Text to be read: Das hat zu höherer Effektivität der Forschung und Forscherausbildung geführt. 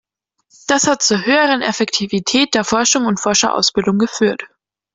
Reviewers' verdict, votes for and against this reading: accepted, 2, 0